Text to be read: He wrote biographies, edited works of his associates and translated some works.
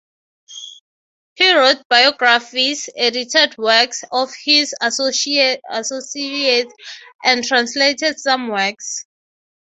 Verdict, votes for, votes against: rejected, 0, 3